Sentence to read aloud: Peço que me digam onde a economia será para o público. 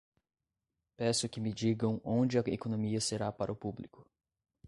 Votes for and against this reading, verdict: 0, 2, rejected